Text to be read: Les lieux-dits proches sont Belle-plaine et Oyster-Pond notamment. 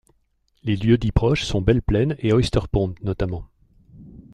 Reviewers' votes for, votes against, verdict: 2, 0, accepted